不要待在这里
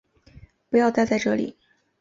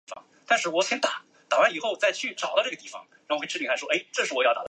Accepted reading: first